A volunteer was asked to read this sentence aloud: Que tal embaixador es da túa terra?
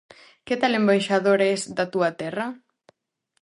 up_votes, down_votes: 2, 0